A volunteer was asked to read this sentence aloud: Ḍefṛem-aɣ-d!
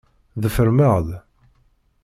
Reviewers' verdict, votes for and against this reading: rejected, 1, 2